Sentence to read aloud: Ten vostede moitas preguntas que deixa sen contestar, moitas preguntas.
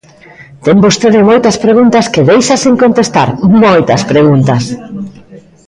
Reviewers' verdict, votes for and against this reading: rejected, 0, 2